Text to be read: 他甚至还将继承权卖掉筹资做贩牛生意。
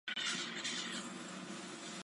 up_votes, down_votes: 0, 2